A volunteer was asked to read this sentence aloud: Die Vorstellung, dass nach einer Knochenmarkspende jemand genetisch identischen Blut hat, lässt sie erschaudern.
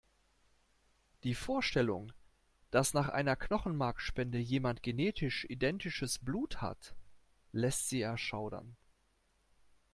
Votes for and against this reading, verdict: 0, 2, rejected